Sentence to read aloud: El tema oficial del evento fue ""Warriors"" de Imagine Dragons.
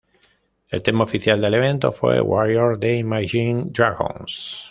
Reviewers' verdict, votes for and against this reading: rejected, 1, 2